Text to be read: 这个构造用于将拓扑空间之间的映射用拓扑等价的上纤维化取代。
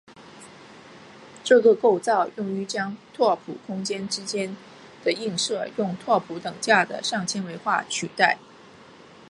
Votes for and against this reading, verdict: 1, 2, rejected